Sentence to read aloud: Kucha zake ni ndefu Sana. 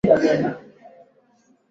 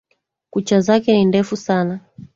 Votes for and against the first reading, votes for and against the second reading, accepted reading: 0, 2, 2, 1, second